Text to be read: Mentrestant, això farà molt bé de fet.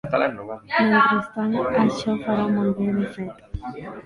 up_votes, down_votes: 1, 2